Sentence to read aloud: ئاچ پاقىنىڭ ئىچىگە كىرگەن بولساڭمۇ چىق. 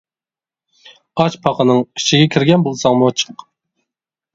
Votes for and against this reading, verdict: 2, 0, accepted